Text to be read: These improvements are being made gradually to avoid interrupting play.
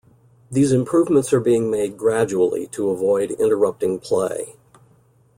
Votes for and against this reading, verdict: 2, 0, accepted